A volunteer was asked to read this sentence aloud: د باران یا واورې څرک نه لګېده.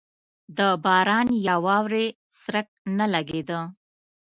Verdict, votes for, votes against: accepted, 2, 0